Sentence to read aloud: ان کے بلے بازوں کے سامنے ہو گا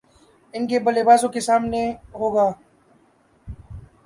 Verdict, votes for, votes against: rejected, 0, 2